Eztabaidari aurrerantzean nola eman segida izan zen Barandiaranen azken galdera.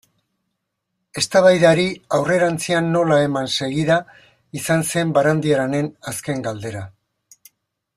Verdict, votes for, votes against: accepted, 2, 1